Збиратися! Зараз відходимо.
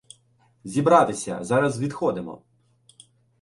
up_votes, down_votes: 0, 2